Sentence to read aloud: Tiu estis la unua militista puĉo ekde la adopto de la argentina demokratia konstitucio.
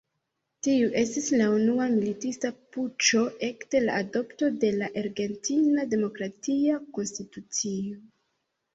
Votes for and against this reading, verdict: 2, 0, accepted